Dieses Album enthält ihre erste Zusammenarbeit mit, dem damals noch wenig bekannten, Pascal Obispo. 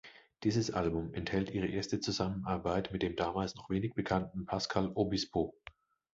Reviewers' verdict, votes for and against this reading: accepted, 2, 0